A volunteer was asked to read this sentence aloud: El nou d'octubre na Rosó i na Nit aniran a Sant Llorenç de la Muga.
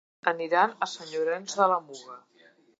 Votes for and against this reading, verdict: 0, 2, rejected